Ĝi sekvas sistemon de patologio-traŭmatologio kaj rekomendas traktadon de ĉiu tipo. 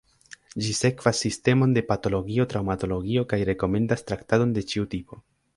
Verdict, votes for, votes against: rejected, 1, 2